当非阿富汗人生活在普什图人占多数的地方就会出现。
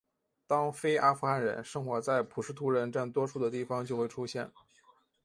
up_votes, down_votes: 2, 0